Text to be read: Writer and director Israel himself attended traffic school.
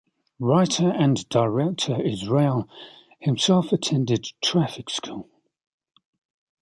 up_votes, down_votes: 2, 0